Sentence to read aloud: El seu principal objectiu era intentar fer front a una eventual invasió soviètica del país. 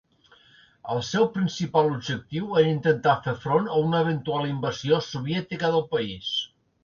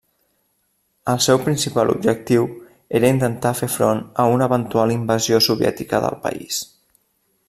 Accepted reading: first